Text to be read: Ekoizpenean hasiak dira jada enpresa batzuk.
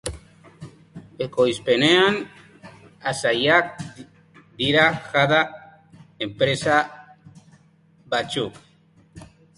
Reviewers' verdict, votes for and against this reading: rejected, 0, 3